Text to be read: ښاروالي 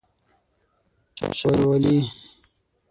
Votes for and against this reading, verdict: 3, 6, rejected